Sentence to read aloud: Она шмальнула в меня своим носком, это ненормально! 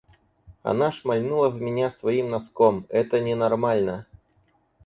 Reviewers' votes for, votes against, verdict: 4, 0, accepted